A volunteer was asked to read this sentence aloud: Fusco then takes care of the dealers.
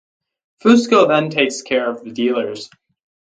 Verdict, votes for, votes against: rejected, 2, 2